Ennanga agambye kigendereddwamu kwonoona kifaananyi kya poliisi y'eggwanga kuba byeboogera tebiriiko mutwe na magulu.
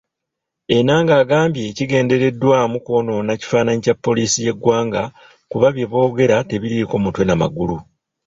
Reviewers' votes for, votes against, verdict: 2, 0, accepted